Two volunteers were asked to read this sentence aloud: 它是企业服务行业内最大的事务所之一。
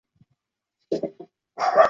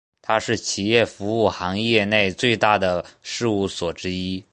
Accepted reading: second